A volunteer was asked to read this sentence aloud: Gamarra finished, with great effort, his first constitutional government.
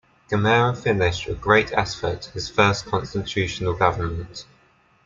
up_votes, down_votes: 2, 1